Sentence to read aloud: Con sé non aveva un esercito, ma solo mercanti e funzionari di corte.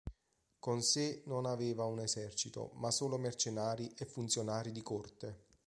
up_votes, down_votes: 1, 5